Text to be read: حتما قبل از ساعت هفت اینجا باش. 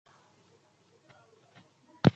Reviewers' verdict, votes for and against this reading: rejected, 0, 2